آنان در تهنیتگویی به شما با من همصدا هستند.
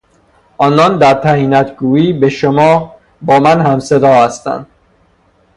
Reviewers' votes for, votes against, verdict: 0, 3, rejected